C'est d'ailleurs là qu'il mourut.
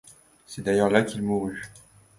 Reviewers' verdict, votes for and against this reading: accepted, 2, 0